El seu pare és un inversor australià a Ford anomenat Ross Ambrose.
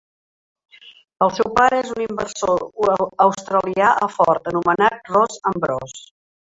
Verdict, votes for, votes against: rejected, 1, 2